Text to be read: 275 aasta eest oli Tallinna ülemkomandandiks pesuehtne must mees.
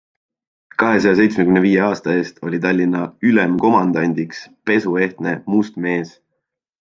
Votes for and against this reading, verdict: 0, 2, rejected